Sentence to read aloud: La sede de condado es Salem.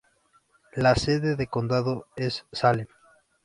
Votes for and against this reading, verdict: 2, 0, accepted